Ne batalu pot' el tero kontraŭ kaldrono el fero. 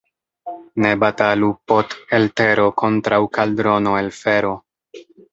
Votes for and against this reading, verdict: 3, 0, accepted